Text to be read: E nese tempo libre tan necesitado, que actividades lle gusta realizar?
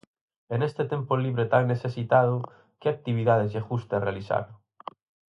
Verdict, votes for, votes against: rejected, 2, 2